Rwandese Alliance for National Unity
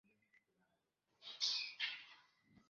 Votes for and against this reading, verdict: 0, 2, rejected